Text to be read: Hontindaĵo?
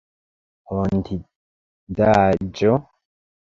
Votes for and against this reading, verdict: 0, 2, rejected